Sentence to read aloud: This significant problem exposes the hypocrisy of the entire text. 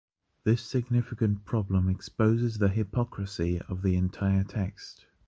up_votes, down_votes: 2, 0